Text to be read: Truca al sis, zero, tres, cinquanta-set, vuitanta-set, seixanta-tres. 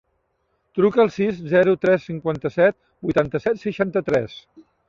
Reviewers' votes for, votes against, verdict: 3, 0, accepted